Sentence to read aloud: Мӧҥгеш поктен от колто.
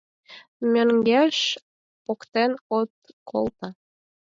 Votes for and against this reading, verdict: 0, 4, rejected